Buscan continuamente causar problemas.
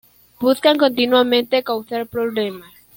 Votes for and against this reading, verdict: 2, 0, accepted